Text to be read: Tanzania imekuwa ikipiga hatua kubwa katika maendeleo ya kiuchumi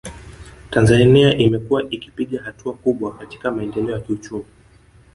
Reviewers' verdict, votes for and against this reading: accepted, 2, 1